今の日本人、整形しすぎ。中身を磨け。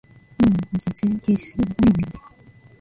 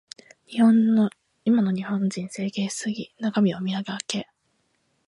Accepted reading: second